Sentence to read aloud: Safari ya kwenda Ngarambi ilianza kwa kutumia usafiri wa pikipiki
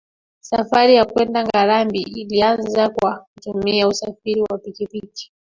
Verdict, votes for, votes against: accepted, 2, 1